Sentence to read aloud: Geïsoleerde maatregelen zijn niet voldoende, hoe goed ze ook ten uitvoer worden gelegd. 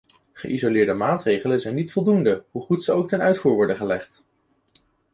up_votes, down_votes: 2, 0